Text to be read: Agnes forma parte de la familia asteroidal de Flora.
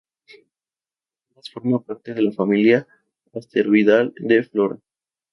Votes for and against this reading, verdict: 0, 2, rejected